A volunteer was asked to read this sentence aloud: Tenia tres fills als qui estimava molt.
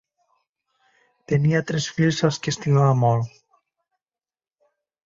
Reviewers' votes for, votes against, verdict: 2, 0, accepted